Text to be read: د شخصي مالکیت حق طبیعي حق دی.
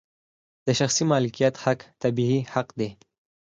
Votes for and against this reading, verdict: 4, 0, accepted